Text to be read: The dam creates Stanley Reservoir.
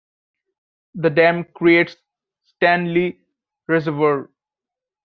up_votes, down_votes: 2, 1